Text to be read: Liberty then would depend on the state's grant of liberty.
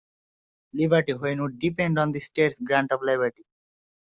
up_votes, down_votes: 0, 2